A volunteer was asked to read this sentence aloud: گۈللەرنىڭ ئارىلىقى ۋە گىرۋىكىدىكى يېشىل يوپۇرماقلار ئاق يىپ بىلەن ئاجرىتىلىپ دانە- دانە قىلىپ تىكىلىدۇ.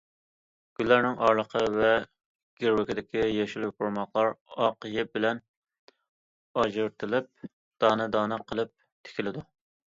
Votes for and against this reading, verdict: 2, 0, accepted